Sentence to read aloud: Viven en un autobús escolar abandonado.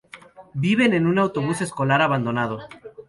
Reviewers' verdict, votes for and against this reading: accepted, 4, 2